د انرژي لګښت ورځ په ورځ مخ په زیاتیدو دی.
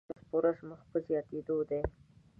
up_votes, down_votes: 1, 2